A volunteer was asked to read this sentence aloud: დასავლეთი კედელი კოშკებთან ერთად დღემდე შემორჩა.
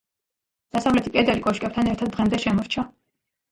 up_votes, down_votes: 2, 0